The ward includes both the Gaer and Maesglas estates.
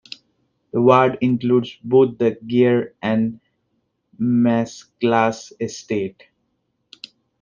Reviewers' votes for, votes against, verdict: 1, 2, rejected